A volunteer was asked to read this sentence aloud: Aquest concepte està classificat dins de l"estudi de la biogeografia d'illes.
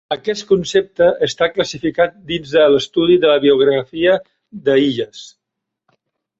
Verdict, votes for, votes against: rejected, 0, 2